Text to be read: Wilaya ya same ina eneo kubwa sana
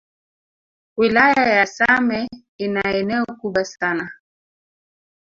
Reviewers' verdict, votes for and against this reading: accepted, 2, 0